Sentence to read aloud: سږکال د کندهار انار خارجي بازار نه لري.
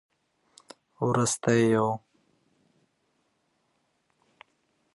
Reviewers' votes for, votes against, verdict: 0, 2, rejected